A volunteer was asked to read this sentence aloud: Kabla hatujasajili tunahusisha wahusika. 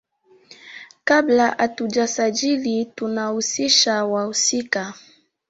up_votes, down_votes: 1, 2